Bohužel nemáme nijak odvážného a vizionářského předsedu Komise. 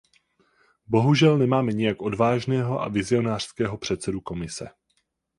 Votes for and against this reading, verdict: 4, 0, accepted